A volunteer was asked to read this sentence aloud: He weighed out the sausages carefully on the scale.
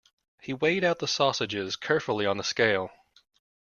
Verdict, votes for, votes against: accepted, 2, 0